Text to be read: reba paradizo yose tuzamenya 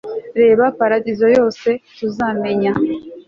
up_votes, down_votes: 2, 0